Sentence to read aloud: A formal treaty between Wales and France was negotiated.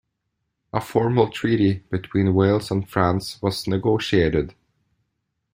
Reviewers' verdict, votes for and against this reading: accepted, 2, 0